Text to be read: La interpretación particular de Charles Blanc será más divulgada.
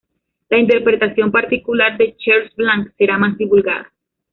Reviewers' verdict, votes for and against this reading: accepted, 2, 1